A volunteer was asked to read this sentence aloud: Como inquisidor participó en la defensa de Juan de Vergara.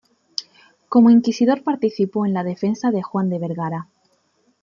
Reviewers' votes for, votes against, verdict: 2, 0, accepted